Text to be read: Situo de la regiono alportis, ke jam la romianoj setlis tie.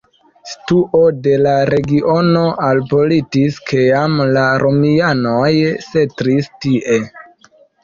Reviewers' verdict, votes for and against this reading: rejected, 1, 2